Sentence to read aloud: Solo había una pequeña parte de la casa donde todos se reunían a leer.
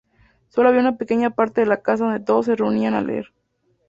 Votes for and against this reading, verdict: 2, 0, accepted